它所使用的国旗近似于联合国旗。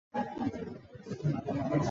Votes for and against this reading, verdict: 1, 2, rejected